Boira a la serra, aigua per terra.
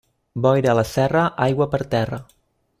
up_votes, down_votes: 2, 0